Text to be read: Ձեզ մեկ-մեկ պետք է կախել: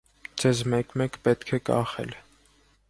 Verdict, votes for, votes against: accepted, 2, 0